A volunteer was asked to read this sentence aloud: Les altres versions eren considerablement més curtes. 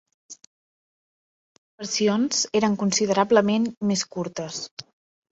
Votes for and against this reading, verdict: 0, 2, rejected